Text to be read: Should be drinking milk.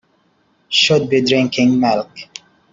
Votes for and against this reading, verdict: 2, 0, accepted